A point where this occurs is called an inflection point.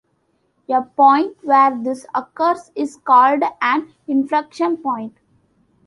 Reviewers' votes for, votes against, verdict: 2, 0, accepted